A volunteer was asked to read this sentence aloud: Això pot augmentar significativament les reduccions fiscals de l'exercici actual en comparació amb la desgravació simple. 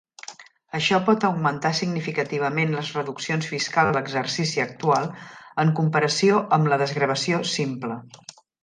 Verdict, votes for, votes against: rejected, 1, 2